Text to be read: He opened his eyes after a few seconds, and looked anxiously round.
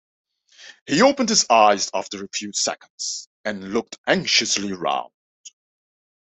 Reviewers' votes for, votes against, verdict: 2, 1, accepted